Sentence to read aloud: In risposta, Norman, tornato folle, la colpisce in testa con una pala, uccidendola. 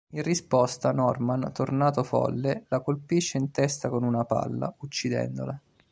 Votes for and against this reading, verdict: 0, 2, rejected